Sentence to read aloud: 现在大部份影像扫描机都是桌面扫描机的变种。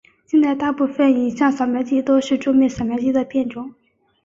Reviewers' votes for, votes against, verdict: 2, 0, accepted